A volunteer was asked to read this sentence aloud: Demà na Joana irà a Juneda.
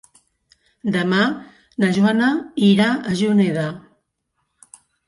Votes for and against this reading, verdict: 4, 0, accepted